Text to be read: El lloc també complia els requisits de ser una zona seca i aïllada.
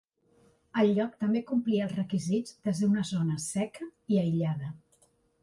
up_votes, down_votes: 3, 0